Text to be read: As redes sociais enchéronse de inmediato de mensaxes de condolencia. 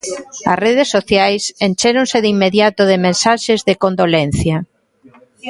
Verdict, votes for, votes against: accepted, 2, 0